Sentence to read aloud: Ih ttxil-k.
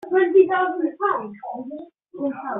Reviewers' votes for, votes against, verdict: 0, 3, rejected